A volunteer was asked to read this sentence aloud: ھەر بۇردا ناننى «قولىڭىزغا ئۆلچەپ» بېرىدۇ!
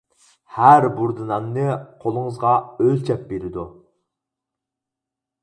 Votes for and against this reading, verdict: 4, 0, accepted